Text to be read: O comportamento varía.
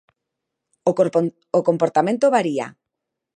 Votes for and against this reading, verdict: 1, 2, rejected